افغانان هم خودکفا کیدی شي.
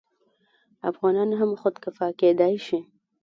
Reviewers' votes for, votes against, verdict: 3, 0, accepted